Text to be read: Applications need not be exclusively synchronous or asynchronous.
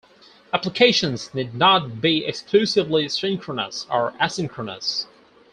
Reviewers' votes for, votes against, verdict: 4, 2, accepted